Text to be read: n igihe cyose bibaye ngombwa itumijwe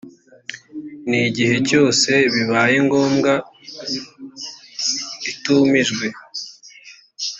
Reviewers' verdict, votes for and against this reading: accepted, 2, 0